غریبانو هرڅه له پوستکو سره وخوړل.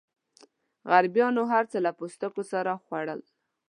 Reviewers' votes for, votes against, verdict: 0, 2, rejected